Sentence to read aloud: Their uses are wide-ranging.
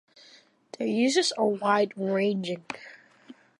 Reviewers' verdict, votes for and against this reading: rejected, 1, 2